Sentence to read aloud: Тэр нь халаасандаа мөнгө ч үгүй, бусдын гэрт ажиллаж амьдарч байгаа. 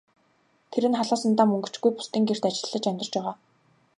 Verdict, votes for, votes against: rejected, 0, 2